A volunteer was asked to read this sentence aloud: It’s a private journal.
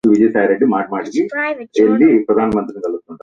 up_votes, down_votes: 1, 2